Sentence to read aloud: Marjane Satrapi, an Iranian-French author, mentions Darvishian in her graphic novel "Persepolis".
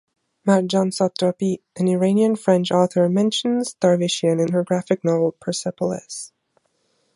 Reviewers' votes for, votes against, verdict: 2, 0, accepted